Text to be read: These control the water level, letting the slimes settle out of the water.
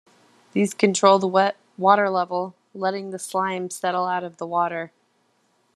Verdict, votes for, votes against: rejected, 1, 2